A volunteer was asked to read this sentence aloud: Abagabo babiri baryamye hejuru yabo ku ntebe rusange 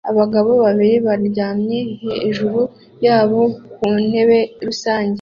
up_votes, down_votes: 2, 0